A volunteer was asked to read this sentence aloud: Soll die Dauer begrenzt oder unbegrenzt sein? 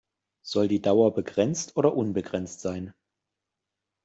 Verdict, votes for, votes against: accepted, 2, 0